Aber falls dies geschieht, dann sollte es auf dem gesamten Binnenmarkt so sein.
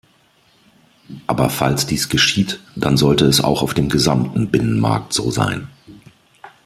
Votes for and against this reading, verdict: 2, 0, accepted